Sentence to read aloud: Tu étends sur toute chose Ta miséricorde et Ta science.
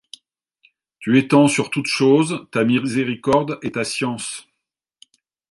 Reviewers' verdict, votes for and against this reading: rejected, 0, 2